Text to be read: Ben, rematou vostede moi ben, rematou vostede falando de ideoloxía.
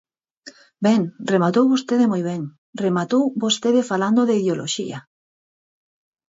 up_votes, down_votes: 4, 0